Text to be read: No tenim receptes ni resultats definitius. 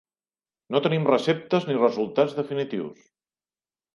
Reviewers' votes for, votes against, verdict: 3, 0, accepted